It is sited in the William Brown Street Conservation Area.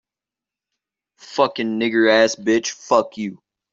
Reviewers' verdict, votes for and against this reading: rejected, 0, 2